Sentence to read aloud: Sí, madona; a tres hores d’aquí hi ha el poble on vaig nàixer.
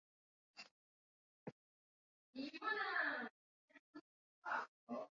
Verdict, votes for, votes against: rejected, 1, 2